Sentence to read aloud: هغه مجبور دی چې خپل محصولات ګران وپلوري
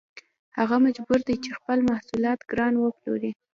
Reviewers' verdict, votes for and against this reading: rejected, 0, 2